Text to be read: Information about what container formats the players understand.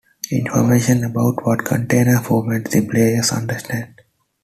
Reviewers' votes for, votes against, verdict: 2, 0, accepted